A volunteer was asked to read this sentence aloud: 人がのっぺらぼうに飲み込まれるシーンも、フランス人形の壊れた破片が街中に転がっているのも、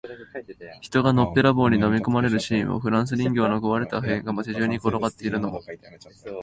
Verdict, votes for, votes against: rejected, 2, 4